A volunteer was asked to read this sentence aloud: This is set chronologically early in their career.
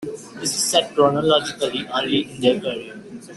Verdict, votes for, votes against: accepted, 2, 1